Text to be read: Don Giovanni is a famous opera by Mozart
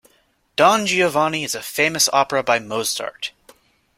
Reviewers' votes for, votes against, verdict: 2, 0, accepted